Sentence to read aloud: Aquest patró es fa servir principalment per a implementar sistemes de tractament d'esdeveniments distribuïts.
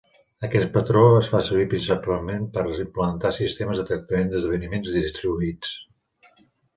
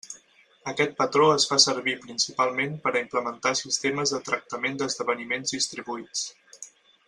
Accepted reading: second